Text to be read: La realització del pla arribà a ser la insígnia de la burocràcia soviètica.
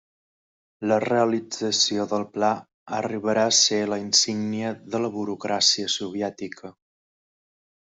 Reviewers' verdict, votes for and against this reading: rejected, 1, 2